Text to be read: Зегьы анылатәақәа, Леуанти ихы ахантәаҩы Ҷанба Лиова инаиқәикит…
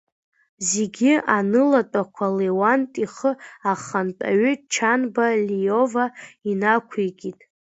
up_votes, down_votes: 1, 2